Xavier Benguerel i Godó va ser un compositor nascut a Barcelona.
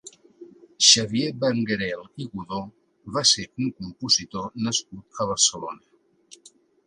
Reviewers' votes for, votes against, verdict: 2, 0, accepted